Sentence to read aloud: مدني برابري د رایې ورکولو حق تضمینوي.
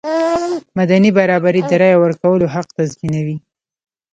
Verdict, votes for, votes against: rejected, 1, 2